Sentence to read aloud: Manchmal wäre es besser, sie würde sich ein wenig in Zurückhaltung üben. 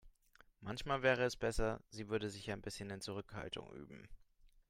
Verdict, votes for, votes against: rejected, 1, 2